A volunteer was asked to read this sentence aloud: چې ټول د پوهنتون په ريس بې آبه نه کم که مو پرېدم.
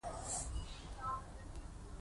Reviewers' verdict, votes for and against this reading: rejected, 1, 2